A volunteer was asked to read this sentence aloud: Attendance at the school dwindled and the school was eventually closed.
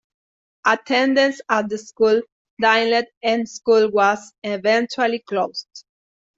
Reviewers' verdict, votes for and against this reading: rejected, 0, 2